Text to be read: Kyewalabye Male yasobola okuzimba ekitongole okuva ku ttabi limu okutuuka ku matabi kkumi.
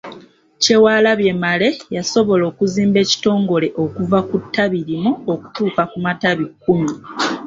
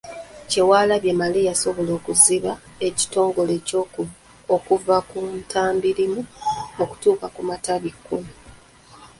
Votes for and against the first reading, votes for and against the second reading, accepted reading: 3, 0, 0, 2, first